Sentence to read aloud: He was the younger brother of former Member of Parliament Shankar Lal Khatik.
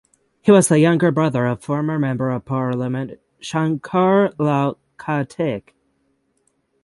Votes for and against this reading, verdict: 3, 3, rejected